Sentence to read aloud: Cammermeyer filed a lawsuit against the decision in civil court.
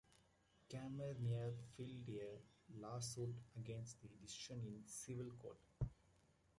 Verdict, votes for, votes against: rejected, 0, 2